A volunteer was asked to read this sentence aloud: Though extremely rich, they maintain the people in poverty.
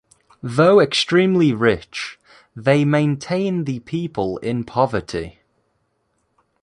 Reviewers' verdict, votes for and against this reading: accepted, 2, 0